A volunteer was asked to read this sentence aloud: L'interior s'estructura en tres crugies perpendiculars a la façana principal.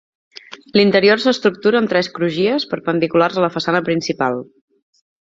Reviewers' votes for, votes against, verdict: 2, 0, accepted